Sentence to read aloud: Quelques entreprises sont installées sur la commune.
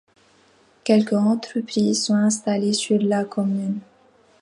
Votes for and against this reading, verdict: 2, 1, accepted